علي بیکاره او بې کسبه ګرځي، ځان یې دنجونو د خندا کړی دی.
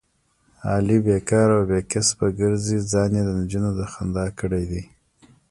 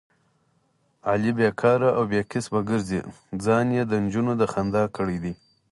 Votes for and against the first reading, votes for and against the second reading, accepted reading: 1, 2, 4, 0, second